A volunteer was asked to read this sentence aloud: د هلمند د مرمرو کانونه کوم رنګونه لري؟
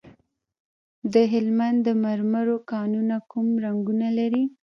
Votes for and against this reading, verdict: 1, 2, rejected